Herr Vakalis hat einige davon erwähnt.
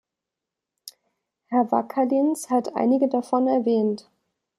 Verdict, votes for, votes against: rejected, 0, 2